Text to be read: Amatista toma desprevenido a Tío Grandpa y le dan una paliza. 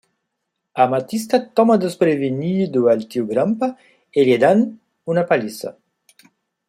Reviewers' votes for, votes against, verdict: 1, 2, rejected